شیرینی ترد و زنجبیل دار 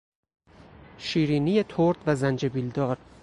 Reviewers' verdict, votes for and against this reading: accepted, 6, 2